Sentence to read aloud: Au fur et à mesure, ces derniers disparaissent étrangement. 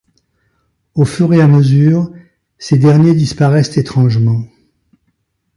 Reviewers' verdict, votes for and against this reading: accepted, 2, 0